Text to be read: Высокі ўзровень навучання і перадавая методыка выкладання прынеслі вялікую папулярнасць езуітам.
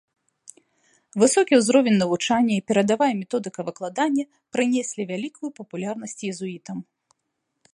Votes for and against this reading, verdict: 2, 0, accepted